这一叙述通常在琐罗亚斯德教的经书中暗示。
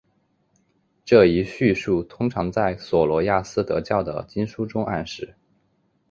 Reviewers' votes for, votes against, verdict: 5, 0, accepted